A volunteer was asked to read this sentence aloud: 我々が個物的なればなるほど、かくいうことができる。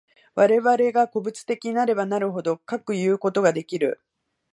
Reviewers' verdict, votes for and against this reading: accepted, 2, 1